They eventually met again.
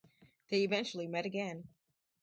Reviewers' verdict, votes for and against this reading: accepted, 4, 0